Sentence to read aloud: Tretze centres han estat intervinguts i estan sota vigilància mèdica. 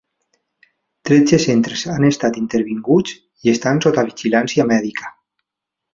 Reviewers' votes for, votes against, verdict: 3, 2, accepted